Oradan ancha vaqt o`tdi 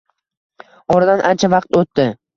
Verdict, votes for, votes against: accepted, 2, 0